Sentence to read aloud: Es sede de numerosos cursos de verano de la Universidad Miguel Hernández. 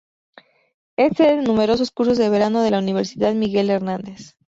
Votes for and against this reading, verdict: 4, 0, accepted